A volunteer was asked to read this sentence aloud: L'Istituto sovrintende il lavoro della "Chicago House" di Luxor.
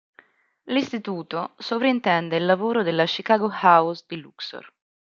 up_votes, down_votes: 2, 0